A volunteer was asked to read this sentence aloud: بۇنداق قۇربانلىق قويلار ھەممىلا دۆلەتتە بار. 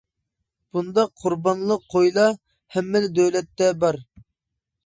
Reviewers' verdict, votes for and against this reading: rejected, 1, 2